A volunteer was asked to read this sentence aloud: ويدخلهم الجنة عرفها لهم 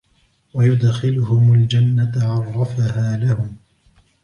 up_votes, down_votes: 0, 2